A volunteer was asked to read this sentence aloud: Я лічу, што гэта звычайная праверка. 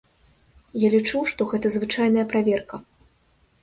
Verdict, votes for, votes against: accepted, 2, 1